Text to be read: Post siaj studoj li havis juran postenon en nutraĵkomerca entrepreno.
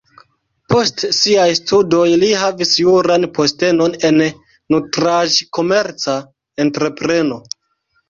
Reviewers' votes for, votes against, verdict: 1, 2, rejected